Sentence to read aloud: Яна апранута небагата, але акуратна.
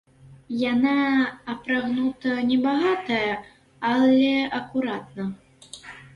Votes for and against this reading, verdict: 0, 2, rejected